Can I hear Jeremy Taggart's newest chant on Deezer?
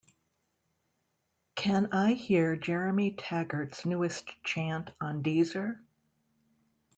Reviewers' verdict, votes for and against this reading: accepted, 2, 0